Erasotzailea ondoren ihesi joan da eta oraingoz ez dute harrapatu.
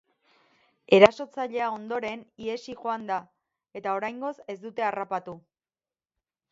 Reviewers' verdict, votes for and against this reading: accepted, 4, 0